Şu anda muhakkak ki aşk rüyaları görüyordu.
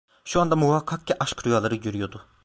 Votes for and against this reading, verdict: 2, 1, accepted